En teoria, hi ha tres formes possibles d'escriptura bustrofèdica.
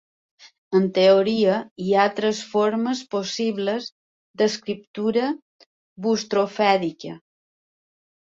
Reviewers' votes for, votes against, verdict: 3, 1, accepted